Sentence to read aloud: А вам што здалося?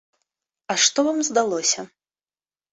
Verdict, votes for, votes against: rejected, 0, 2